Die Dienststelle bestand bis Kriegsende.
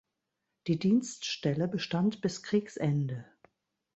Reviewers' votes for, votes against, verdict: 2, 0, accepted